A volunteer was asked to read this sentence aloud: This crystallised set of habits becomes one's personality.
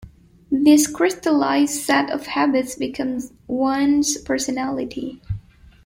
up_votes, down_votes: 2, 1